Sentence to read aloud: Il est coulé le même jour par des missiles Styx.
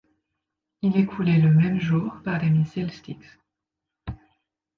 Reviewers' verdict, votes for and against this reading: accepted, 2, 1